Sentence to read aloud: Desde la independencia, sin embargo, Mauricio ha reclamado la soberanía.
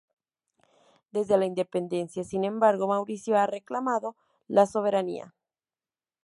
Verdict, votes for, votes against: accepted, 2, 0